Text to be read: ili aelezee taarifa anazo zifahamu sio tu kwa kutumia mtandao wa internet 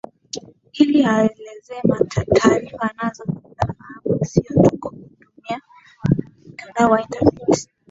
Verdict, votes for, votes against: rejected, 3, 8